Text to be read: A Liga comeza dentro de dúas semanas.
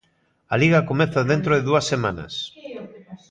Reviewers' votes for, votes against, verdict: 1, 2, rejected